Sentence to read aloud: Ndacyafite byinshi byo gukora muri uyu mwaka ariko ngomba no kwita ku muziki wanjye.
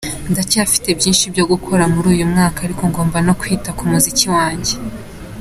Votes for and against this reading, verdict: 2, 1, accepted